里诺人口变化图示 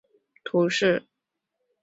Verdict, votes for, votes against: rejected, 2, 4